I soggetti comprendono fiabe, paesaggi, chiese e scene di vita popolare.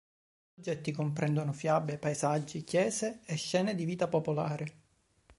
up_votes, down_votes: 1, 2